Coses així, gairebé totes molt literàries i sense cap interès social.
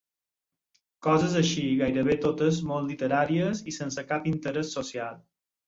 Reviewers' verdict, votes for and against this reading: accepted, 6, 0